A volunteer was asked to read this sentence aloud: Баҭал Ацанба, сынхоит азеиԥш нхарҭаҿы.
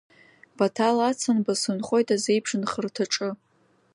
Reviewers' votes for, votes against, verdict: 2, 0, accepted